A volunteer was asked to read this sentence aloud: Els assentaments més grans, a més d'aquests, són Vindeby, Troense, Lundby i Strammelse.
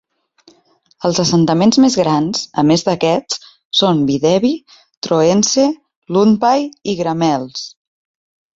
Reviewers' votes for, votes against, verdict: 0, 2, rejected